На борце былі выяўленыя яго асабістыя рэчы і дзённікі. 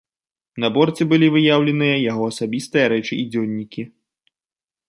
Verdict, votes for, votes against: rejected, 1, 2